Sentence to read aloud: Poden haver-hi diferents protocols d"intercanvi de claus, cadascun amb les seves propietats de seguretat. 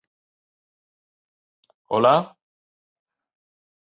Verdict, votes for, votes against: rejected, 0, 2